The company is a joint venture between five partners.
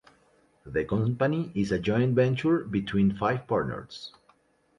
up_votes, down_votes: 2, 0